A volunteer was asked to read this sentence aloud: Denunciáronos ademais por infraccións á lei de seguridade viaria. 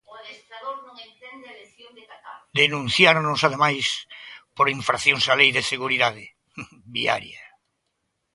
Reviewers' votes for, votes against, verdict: 0, 2, rejected